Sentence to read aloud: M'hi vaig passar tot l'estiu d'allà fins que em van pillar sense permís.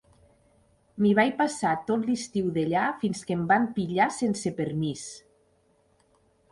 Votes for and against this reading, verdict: 3, 1, accepted